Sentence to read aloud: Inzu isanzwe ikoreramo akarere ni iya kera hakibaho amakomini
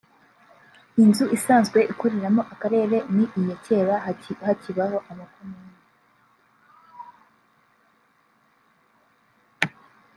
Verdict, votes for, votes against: rejected, 2, 3